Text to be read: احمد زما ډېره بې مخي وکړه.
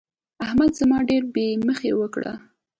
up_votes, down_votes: 2, 0